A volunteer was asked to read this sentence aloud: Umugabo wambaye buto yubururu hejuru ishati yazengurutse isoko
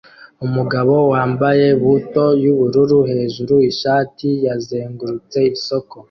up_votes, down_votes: 2, 0